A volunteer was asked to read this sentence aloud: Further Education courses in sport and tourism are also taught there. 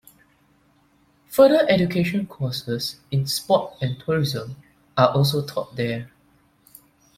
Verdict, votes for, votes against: accepted, 2, 0